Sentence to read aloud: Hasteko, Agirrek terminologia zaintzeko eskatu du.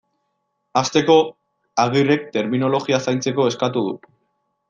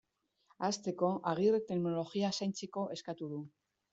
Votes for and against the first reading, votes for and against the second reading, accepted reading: 2, 0, 1, 2, first